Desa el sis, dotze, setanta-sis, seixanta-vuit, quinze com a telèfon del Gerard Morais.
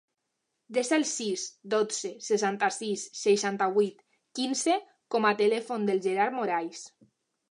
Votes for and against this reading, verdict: 3, 0, accepted